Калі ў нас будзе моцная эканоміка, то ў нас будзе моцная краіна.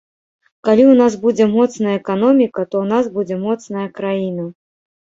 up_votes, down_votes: 3, 0